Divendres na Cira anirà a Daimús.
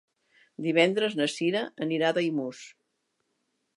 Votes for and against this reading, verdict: 3, 0, accepted